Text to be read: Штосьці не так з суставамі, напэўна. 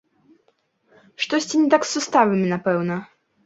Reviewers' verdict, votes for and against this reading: rejected, 1, 2